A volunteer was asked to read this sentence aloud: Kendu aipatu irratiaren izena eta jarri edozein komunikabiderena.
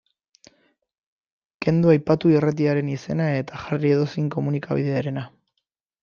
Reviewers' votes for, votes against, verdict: 2, 0, accepted